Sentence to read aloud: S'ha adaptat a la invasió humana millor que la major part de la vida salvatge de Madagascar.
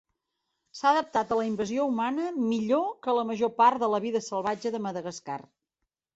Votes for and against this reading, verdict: 3, 0, accepted